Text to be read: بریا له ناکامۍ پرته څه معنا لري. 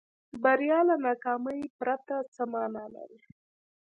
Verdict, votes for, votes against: rejected, 1, 2